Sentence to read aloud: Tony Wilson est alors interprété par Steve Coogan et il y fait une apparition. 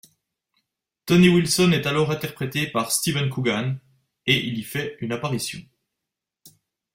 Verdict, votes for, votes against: rejected, 0, 2